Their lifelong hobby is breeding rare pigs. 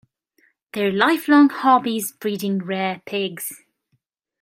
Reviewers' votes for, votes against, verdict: 0, 2, rejected